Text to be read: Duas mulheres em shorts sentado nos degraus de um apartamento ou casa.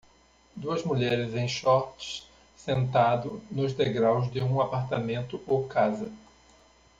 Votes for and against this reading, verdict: 0, 2, rejected